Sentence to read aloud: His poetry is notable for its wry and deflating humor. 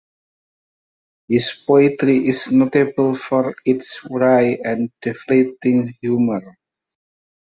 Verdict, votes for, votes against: accepted, 2, 0